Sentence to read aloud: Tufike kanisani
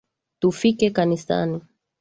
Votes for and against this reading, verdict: 2, 0, accepted